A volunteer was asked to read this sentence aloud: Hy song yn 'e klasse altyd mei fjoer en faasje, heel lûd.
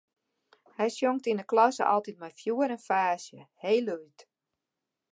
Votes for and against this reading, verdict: 0, 2, rejected